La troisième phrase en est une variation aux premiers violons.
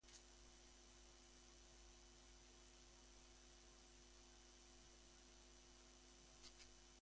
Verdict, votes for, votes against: rejected, 1, 2